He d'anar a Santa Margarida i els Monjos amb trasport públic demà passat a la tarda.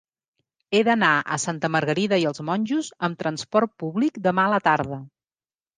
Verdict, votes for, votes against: rejected, 0, 2